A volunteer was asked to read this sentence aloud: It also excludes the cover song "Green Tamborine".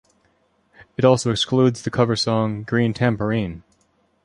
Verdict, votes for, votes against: accepted, 2, 0